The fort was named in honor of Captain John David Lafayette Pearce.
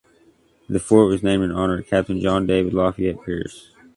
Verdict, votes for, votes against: rejected, 1, 2